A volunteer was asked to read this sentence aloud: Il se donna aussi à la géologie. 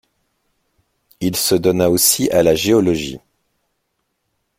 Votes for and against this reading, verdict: 2, 0, accepted